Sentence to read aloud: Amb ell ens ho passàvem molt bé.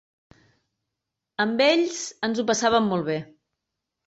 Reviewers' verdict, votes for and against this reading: rejected, 1, 2